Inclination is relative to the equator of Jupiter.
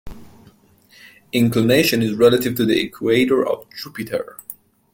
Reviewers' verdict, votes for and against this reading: accepted, 2, 0